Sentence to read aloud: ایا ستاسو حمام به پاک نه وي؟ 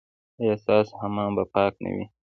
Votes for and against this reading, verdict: 3, 0, accepted